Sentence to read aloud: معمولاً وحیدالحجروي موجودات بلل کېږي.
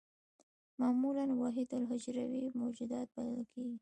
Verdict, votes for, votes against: rejected, 1, 2